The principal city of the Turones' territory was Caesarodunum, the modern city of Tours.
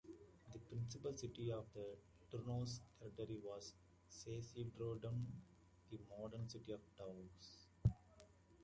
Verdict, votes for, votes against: rejected, 0, 2